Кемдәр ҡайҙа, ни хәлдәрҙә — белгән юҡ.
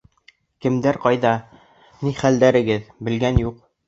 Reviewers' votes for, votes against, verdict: 0, 2, rejected